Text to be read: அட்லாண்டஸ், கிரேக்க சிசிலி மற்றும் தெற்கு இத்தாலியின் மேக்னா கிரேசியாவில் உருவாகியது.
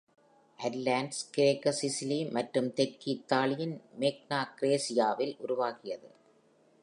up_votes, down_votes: 2, 0